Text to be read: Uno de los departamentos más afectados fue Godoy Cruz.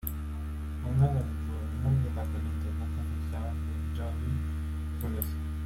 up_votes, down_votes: 0, 2